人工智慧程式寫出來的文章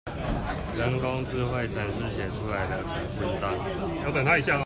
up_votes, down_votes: 0, 2